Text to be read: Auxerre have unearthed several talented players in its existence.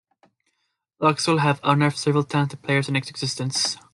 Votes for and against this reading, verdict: 0, 2, rejected